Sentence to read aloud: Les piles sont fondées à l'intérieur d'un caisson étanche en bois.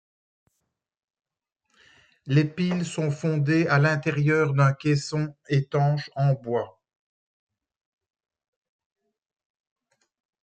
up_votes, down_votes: 2, 0